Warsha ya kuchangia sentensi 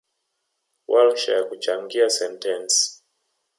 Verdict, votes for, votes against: accepted, 2, 0